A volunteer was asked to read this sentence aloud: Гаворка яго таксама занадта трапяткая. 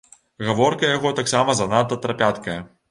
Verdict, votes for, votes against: rejected, 0, 2